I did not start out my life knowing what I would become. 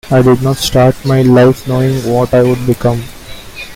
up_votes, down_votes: 0, 2